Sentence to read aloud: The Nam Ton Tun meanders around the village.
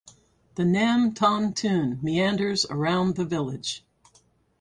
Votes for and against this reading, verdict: 4, 0, accepted